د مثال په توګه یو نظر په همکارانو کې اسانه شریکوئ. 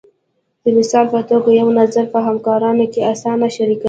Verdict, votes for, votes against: rejected, 1, 2